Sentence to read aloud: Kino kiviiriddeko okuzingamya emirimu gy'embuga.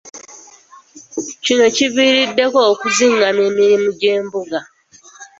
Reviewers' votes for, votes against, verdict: 2, 0, accepted